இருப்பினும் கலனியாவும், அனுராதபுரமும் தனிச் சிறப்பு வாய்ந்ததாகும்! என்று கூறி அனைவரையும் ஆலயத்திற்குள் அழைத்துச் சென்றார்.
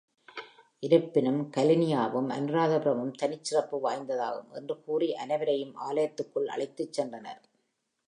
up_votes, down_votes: 2, 0